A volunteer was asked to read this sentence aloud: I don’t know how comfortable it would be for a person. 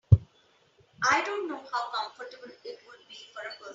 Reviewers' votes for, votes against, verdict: 2, 3, rejected